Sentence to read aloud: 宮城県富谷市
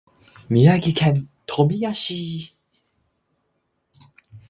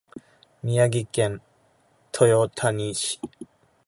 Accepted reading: first